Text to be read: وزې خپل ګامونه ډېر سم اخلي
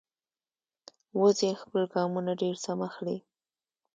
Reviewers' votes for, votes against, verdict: 1, 2, rejected